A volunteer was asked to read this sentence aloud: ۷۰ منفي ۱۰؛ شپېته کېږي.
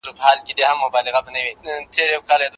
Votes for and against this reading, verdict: 0, 2, rejected